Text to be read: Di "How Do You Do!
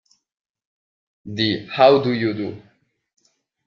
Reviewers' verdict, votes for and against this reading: accepted, 2, 1